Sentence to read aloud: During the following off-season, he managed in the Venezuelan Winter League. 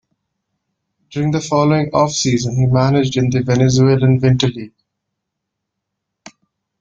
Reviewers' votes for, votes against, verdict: 2, 1, accepted